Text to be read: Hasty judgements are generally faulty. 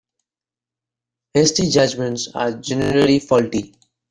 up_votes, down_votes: 1, 2